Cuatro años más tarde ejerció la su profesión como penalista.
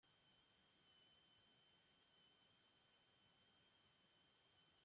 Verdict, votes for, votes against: rejected, 0, 2